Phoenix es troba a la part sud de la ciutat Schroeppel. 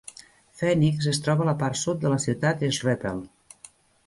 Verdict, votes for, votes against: accepted, 2, 0